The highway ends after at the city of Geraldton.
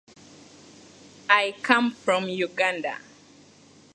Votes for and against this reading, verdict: 0, 2, rejected